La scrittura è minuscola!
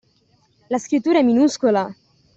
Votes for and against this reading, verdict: 2, 0, accepted